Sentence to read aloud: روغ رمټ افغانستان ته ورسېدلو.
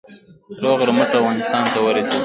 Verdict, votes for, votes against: rejected, 0, 2